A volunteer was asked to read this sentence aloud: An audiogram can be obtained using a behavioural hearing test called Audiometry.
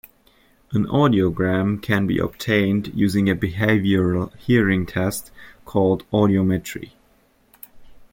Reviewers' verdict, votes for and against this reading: accepted, 3, 0